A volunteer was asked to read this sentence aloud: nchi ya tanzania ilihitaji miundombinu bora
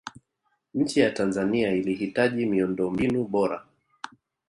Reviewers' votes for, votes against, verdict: 0, 2, rejected